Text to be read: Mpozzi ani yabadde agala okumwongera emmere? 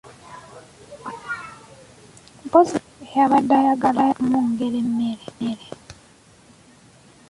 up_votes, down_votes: 0, 2